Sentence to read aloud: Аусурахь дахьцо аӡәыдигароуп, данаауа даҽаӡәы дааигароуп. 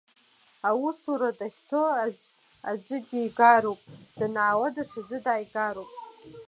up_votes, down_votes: 0, 2